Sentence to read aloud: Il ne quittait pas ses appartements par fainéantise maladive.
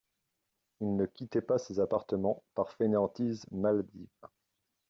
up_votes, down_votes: 1, 2